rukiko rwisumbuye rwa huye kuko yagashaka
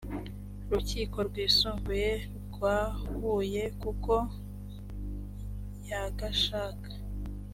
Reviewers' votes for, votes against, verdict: 2, 0, accepted